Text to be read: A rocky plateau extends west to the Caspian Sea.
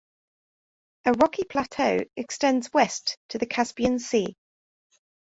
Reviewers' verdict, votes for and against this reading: accepted, 2, 0